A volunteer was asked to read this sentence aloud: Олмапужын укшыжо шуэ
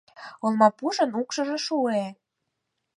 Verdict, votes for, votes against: accepted, 4, 0